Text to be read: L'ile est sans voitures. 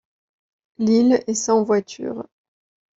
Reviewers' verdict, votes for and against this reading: accepted, 2, 0